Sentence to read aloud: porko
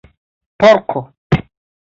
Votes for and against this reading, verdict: 2, 0, accepted